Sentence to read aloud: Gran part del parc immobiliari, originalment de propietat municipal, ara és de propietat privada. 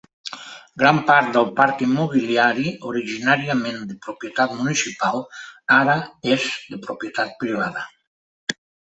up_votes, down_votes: 1, 2